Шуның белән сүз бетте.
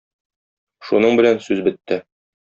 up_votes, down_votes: 2, 0